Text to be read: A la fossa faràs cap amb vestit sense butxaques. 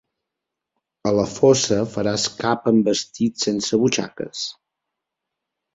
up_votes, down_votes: 3, 0